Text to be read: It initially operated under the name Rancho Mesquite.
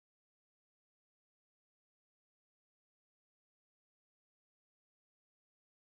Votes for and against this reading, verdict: 0, 2, rejected